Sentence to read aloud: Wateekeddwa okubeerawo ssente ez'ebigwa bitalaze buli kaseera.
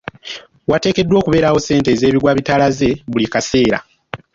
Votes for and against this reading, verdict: 3, 0, accepted